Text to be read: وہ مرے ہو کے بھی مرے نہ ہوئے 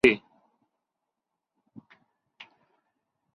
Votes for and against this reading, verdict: 0, 2, rejected